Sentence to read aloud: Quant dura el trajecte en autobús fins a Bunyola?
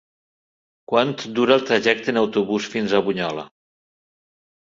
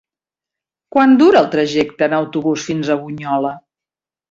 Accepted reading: second